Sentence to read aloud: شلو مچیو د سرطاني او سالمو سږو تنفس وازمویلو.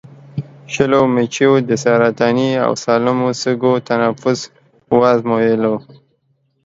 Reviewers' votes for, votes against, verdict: 2, 0, accepted